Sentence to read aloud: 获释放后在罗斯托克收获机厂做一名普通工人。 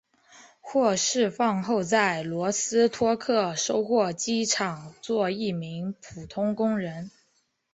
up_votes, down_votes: 2, 0